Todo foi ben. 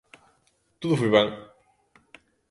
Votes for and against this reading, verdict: 2, 0, accepted